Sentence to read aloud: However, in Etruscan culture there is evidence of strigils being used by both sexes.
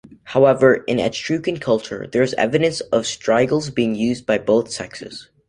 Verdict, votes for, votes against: rejected, 1, 2